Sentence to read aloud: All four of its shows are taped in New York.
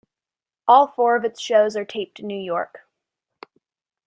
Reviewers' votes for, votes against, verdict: 2, 0, accepted